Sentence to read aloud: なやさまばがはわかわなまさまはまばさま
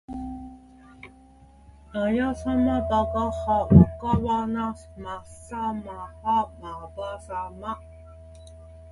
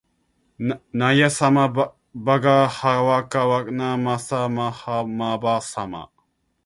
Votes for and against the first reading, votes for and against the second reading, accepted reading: 2, 0, 0, 2, first